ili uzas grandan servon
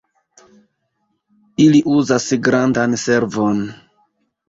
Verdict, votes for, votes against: rejected, 0, 2